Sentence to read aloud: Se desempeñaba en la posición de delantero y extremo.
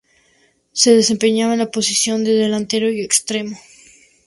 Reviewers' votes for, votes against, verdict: 2, 0, accepted